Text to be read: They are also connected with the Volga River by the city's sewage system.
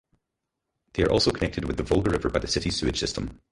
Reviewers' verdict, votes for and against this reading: rejected, 0, 4